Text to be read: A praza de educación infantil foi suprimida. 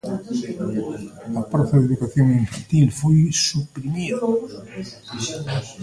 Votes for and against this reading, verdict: 0, 2, rejected